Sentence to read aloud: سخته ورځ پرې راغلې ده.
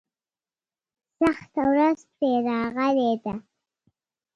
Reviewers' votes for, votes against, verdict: 2, 0, accepted